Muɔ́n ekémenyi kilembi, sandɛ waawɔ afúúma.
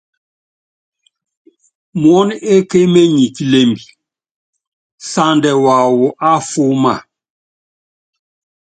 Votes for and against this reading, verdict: 2, 0, accepted